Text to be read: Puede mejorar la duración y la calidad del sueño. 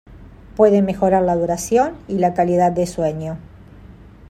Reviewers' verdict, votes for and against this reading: accepted, 2, 0